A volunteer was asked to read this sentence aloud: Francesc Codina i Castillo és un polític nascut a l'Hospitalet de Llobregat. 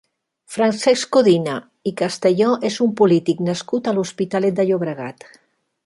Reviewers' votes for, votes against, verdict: 0, 2, rejected